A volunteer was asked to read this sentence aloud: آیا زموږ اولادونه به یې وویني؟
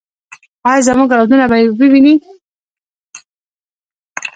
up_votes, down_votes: 1, 2